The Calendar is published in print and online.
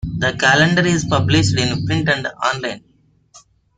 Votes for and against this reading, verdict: 1, 2, rejected